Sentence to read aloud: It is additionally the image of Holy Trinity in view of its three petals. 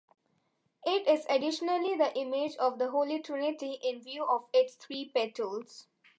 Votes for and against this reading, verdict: 2, 1, accepted